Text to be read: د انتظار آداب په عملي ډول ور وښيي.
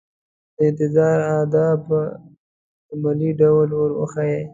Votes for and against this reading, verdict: 3, 0, accepted